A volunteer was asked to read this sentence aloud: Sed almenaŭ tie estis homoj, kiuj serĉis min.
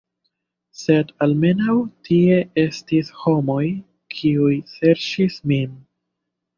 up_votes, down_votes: 2, 0